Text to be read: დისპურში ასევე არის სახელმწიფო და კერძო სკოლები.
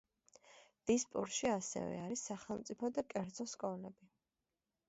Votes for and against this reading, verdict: 1, 2, rejected